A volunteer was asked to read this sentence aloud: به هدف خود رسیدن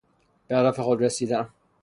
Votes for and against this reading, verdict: 3, 0, accepted